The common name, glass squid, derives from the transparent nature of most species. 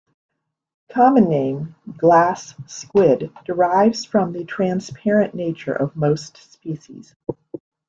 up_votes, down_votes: 2, 1